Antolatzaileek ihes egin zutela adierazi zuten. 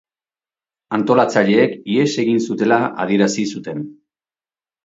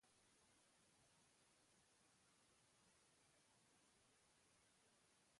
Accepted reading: first